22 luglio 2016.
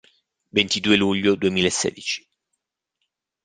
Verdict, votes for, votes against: rejected, 0, 2